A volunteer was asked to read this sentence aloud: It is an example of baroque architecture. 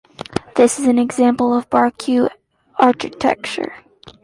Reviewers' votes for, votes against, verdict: 1, 2, rejected